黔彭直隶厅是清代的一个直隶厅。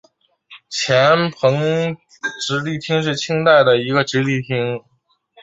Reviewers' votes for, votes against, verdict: 4, 0, accepted